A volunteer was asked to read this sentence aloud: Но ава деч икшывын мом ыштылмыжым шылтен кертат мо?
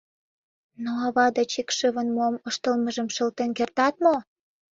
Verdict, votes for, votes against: accepted, 2, 0